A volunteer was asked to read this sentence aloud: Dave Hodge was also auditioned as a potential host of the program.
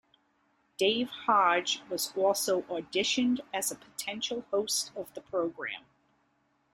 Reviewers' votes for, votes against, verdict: 2, 0, accepted